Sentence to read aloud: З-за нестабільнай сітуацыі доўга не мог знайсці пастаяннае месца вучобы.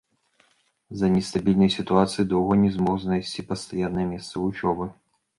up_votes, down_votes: 1, 2